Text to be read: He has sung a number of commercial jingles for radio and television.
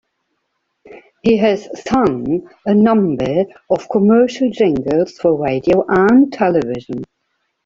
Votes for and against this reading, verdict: 1, 2, rejected